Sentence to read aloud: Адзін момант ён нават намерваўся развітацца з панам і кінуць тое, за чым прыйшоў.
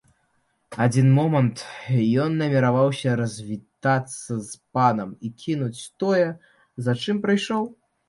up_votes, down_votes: 0, 2